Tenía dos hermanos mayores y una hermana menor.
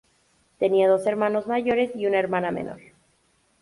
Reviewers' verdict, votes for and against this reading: accepted, 2, 0